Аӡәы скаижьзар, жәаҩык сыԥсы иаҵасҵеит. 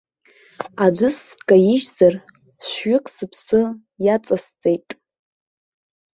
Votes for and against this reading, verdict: 1, 3, rejected